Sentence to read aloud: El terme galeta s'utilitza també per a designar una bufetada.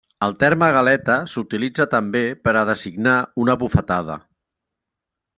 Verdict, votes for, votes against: accepted, 3, 0